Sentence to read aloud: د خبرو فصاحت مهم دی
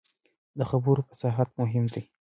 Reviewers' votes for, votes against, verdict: 2, 0, accepted